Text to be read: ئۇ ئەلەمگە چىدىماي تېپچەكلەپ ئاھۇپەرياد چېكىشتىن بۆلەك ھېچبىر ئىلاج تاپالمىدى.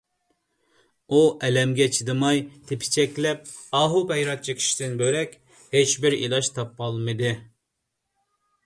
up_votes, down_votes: 1, 2